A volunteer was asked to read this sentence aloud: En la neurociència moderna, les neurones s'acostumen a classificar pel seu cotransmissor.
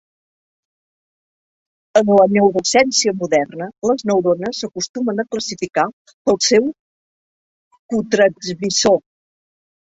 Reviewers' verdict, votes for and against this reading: rejected, 0, 2